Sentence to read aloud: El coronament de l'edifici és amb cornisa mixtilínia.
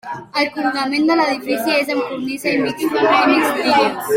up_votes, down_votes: 0, 2